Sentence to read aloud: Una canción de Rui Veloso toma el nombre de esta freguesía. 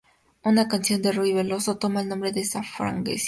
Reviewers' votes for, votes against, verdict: 0, 2, rejected